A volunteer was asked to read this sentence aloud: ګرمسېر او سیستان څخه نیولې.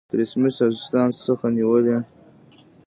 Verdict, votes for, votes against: rejected, 0, 2